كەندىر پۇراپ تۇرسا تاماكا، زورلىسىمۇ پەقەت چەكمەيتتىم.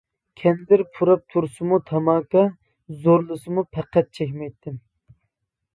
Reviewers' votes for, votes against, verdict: 2, 1, accepted